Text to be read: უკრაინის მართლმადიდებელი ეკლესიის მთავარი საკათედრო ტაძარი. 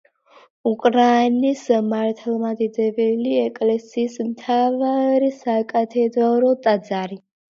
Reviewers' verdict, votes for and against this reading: accepted, 2, 1